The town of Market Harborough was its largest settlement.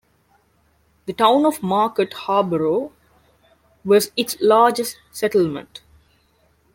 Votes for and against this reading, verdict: 0, 2, rejected